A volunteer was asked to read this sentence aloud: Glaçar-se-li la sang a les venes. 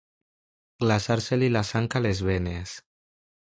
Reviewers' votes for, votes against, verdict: 2, 0, accepted